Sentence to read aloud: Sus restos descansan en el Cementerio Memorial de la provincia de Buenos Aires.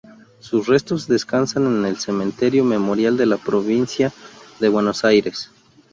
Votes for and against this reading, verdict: 2, 0, accepted